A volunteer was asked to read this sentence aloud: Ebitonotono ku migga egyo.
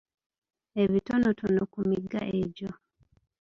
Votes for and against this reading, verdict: 1, 2, rejected